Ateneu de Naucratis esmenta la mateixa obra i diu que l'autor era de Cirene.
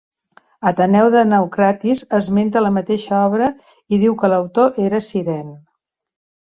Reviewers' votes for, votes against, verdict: 0, 2, rejected